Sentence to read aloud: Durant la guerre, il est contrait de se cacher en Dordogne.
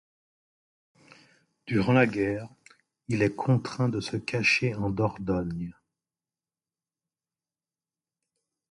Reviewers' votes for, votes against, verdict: 1, 2, rejected